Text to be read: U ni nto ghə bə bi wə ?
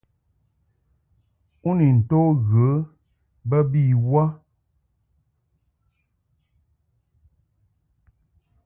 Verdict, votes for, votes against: accepted, 2, 0